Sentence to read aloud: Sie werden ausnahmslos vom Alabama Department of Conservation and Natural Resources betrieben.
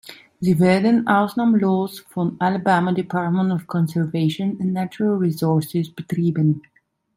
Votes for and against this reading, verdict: 0, 2, rejected